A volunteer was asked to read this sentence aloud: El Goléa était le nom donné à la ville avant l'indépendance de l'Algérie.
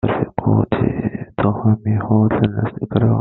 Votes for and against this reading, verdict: 0, 2, rejected